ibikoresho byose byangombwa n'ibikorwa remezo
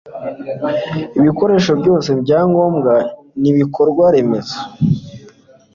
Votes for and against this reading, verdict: 2, 0, accepted